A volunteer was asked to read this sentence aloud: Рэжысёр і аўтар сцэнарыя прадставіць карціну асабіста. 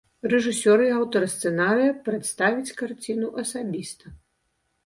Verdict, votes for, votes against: accepted, 2, 0